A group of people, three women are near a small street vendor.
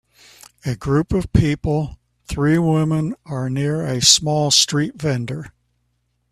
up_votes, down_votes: 2, 0